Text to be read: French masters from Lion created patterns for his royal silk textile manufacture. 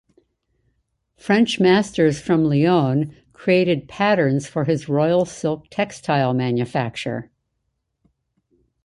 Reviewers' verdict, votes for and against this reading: accepted, 2, 0